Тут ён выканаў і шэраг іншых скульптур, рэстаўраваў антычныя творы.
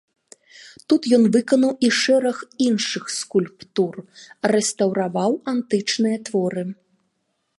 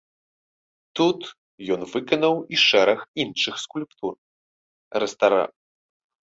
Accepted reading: first